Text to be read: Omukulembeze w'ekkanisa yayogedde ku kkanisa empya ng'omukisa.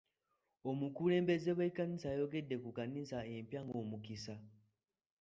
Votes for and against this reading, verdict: 2, 0, accepted